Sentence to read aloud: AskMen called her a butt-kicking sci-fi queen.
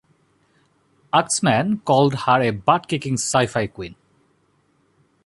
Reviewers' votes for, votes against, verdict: 2, 0, accepted